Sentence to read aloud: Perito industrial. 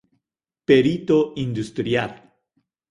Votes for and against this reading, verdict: 2, 0, accepted